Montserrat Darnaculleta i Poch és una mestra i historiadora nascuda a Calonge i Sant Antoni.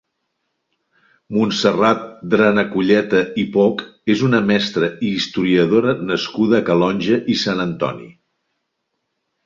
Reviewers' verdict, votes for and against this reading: rejected, 1, 2